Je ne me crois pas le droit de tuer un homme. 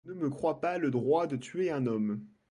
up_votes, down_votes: 1, 2